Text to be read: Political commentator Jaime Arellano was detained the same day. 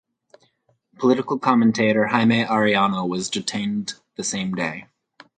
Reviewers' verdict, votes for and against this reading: accepted, 4, 2